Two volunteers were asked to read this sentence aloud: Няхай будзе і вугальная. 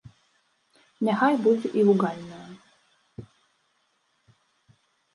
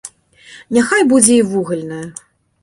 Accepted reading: second